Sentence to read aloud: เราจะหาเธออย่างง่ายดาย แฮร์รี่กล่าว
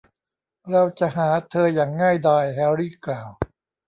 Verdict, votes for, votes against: accepted, 2, 0